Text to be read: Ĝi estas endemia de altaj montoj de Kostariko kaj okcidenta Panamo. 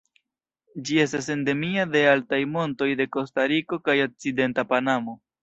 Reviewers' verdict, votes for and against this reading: accepted, 2, 1